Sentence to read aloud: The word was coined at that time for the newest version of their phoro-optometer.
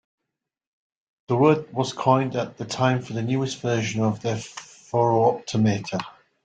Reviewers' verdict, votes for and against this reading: accepted, 2, 0